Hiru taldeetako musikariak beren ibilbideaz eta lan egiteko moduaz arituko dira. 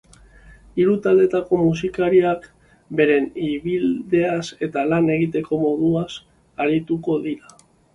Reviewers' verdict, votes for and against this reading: accepted, 2, 1